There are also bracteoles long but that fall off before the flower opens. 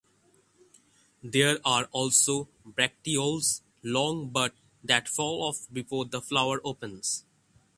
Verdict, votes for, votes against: accepted, 6, 0